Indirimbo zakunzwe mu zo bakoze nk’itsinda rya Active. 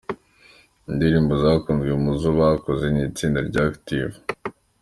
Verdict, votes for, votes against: accepted, 2, 1